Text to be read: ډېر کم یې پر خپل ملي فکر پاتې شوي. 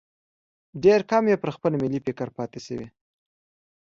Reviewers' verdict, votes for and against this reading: accepted, 2, 0